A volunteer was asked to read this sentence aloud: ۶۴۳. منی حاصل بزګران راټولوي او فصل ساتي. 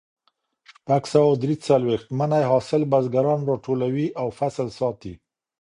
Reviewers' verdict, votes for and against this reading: rejected, 0, 2